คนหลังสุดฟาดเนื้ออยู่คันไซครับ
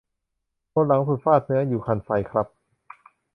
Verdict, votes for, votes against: rejected, 1, 2